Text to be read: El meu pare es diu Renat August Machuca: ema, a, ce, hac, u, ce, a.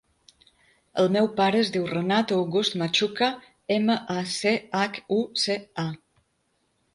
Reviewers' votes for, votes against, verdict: 3, 0, accepted